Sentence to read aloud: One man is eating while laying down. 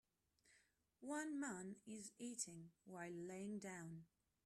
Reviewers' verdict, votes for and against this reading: rejected, 1, 2